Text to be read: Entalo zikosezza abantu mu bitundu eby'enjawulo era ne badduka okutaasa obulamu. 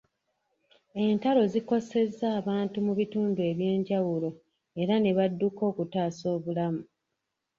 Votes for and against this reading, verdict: 0, 2, rejected